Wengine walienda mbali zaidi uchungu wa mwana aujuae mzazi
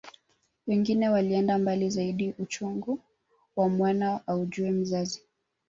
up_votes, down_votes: 2, 0